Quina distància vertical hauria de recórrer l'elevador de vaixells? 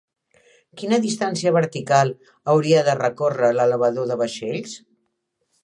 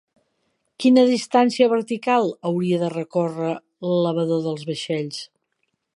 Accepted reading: first